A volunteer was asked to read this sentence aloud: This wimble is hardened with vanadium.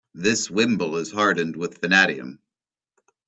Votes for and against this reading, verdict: 2, 0, accepted